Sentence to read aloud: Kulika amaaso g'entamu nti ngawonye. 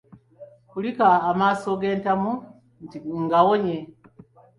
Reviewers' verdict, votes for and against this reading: accepted, 2, 0